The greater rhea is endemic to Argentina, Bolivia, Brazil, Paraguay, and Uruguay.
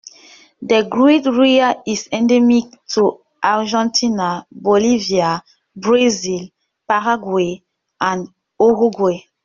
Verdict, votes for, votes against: rejected, 1, 2